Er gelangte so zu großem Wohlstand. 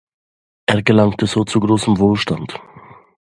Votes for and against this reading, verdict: 2, 0, accepted